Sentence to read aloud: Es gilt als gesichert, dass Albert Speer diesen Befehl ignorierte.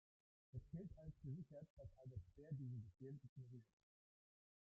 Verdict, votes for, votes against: rejected, 0, 2